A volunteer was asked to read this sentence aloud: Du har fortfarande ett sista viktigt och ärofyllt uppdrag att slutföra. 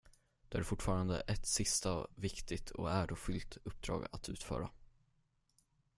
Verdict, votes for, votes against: rejected, 5, 10